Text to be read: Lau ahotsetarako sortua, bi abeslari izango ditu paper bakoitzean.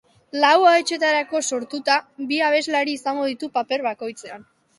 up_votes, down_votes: 2, 2